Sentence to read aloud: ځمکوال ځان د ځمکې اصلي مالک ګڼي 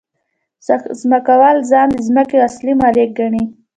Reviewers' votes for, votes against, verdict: 2, 0, accepted